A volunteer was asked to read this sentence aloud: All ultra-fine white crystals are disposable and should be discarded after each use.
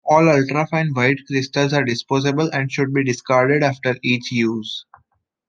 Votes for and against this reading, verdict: 2, 0, accepted